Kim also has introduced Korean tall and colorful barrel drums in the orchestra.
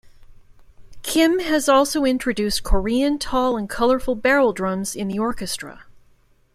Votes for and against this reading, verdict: 1, 2, rejected